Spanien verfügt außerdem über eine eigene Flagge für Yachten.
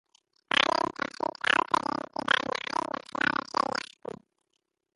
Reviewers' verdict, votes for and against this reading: rejected, 0, 3